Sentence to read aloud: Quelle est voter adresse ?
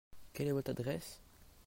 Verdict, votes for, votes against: rejected, 1, 2